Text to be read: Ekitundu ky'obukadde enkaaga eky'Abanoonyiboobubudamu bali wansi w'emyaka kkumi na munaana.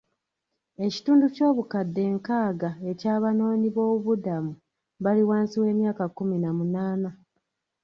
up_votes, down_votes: 2, 1